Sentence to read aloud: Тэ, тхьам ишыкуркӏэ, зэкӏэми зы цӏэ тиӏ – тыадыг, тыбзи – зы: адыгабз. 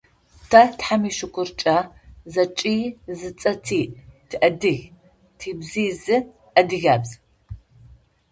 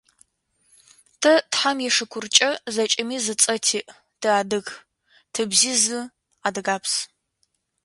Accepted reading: second